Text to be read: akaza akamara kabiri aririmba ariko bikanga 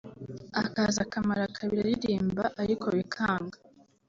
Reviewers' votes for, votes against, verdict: 2, 0, accepted